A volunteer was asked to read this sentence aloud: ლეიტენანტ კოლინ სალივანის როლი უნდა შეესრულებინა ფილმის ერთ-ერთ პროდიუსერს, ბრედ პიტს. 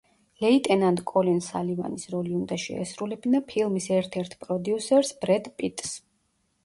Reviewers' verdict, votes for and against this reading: accepted, 2, 0